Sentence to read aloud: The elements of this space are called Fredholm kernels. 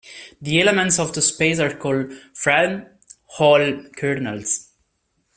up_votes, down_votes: 1, 2